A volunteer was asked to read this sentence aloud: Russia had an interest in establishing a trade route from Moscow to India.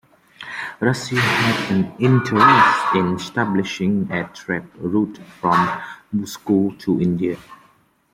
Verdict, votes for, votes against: rejected, 1, 2